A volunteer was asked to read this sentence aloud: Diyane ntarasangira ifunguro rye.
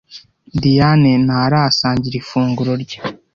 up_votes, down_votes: 2, 0